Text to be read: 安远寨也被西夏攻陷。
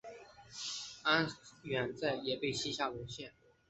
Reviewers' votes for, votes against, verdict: 3, 0, accepted